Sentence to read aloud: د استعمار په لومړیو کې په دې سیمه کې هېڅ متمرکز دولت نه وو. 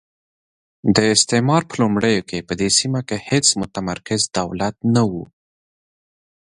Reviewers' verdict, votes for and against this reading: accepted, 2, 1